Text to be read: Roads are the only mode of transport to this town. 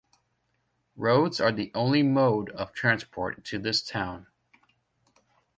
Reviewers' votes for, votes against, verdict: 2, 0, accepted